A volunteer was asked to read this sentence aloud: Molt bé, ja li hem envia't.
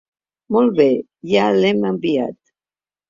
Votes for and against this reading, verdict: 0, 2, rejected